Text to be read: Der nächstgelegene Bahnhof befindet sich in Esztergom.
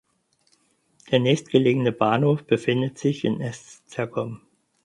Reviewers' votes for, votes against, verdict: 4, 2, accepted